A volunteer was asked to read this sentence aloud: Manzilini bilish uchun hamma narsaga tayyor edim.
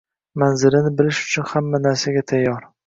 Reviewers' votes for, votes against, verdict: 3, 3, rejected